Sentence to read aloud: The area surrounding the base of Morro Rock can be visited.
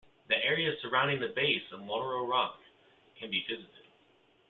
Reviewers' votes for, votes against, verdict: 2, 1, accepted